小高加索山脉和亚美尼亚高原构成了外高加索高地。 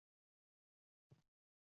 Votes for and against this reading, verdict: 2, 1, accepted